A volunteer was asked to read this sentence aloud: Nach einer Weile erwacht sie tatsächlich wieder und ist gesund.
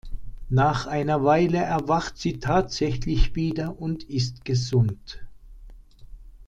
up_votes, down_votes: 2, 0